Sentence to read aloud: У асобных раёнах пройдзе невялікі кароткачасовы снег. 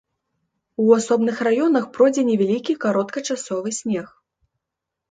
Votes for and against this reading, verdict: 2, 0, accepted